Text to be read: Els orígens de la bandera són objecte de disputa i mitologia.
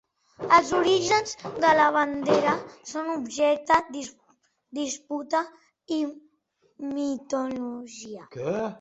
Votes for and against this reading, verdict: 1, 2, rejected